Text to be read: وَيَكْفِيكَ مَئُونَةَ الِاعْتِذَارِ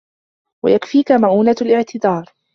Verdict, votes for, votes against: accepted, 2, 0